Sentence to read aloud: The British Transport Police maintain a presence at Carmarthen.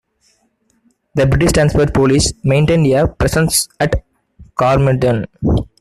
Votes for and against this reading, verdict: 0, 2, rejected